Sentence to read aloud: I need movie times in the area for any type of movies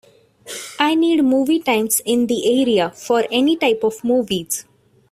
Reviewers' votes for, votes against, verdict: 2, 0, accepted